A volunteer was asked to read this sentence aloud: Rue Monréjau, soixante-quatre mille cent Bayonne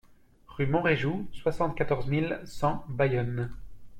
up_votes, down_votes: 0, 2